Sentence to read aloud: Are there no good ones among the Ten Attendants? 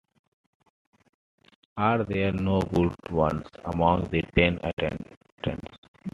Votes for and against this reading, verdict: 2, 1, accepted